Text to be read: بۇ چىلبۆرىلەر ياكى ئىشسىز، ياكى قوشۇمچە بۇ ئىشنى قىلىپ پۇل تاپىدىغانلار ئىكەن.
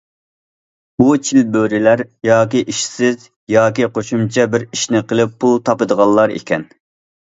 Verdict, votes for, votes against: rejected, 0, 2